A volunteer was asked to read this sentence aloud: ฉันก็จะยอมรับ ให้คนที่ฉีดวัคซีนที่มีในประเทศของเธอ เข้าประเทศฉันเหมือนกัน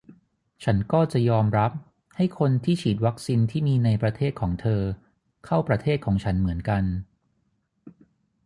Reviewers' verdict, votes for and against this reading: rejected, 0, 3